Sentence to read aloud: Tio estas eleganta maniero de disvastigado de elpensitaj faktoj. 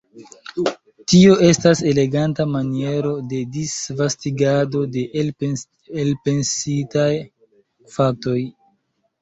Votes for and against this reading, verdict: 0, 2, rejected